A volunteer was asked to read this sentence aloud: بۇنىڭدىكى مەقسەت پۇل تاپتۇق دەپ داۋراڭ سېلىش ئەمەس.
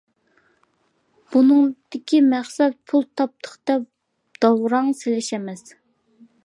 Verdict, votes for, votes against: accepted, 2, 0